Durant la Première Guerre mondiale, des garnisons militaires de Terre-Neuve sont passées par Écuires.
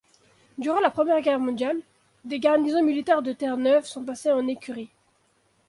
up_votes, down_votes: 0, 2